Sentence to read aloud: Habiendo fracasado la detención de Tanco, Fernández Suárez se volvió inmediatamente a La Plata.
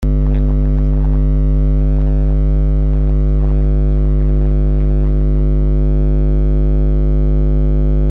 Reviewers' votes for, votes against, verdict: 0, 2, rejected